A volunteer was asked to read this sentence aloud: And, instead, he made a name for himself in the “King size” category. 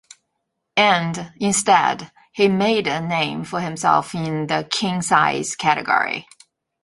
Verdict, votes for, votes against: accepted, 3, 0